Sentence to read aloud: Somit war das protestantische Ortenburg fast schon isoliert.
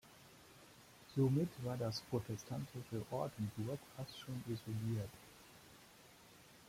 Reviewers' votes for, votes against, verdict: 2, 0, accepted